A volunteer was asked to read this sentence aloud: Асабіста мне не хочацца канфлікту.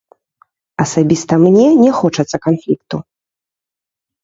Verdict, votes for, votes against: rejected, 2, 3